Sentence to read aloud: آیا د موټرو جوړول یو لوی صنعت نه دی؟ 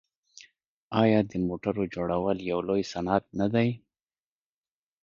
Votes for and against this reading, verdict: 1, 2, rejected